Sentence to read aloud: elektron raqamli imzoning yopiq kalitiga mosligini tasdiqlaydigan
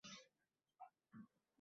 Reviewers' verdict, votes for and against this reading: rejected, 0, 2